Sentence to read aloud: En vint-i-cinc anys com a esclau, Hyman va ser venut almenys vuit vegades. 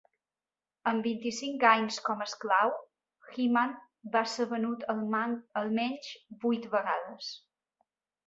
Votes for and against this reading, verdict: 0, 2, rejected